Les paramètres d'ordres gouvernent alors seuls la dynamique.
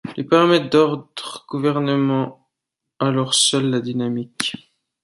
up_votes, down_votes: 1, 2